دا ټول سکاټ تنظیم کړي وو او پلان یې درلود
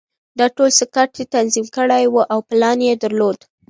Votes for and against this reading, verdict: 2, 0, accepted